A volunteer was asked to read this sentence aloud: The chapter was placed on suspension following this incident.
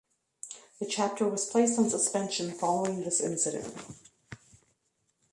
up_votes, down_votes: 2, 0